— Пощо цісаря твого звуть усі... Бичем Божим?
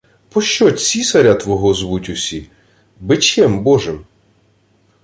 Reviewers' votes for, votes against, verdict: 2, 0, accepted